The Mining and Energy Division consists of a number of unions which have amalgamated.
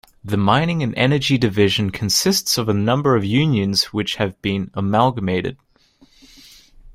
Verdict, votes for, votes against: rejected, 2, 3